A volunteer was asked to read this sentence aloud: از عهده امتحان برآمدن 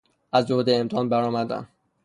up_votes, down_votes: 0, 3